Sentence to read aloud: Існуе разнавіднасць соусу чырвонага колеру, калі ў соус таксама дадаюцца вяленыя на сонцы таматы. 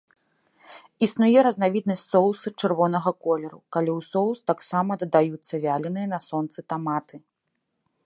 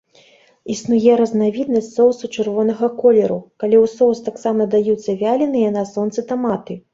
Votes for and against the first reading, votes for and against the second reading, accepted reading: 2, 0, 1, 3, first